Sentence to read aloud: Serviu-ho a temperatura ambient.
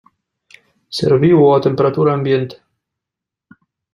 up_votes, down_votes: 2, 0